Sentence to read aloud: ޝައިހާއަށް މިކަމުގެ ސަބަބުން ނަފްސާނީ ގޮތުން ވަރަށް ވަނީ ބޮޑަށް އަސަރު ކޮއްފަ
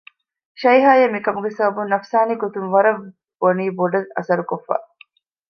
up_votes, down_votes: 2, 0